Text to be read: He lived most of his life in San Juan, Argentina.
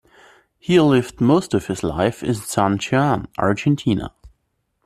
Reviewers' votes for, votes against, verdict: 2, 0, accepted